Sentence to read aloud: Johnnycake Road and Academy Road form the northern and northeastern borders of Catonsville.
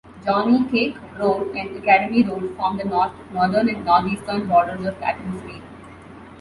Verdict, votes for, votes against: rejected, 0, 3